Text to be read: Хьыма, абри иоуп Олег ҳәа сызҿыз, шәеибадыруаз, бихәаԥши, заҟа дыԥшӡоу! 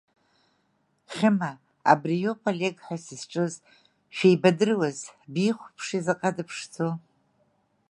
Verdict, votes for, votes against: accepted, 2, 0